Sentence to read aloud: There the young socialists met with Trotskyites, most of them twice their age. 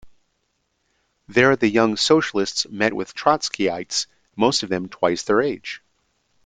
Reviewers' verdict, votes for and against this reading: accepted, 2, 0